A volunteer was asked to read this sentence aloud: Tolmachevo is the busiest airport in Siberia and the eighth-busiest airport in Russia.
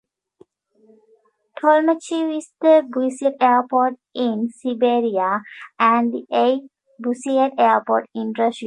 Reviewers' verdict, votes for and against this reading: rejected, 0, 2